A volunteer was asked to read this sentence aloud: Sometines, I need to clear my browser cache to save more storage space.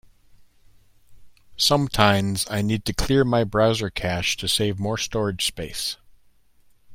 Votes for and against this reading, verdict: 2, 0, accepted